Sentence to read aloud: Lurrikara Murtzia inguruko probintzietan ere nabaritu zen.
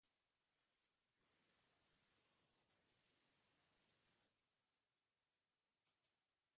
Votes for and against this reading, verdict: 0, 2, rejected